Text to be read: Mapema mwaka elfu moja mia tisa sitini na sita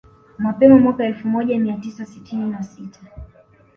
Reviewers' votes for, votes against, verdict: 2, 0, accepted